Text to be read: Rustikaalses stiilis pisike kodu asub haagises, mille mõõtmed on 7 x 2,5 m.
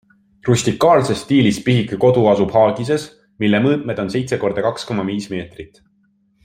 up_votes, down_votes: 0, 2